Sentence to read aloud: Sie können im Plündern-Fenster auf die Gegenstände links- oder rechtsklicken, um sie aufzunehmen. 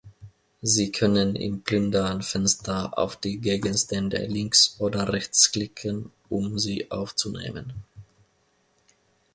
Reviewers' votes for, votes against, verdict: 2, 1, accepted